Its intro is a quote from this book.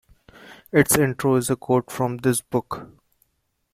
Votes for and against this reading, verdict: 2, 0, accepted